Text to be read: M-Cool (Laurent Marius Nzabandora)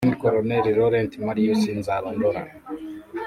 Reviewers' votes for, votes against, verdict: 1, 3, rejected